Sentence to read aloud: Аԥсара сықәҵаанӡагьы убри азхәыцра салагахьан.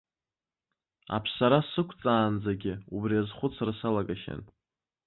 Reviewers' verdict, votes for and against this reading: accepted, 2, 0